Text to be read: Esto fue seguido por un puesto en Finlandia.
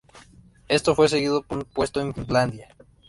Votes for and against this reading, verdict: 1, 2, rejected